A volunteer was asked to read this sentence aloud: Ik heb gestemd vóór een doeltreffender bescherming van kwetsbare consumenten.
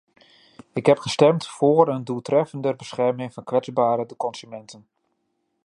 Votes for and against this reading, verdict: 0, 2, rejected